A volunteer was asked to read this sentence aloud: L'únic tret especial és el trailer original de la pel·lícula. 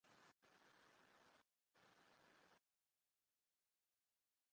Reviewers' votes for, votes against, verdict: 1, 2, rejected